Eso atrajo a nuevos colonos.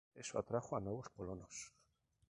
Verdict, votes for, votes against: accepted, 4, 0